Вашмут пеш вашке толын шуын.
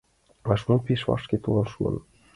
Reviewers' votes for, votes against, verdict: 2, 1, accepted